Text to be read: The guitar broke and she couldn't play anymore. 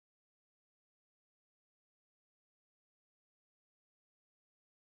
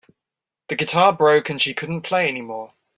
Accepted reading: second